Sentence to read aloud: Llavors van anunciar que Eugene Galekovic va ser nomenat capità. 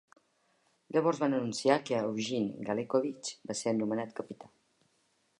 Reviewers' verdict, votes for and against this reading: rejected, 1, 2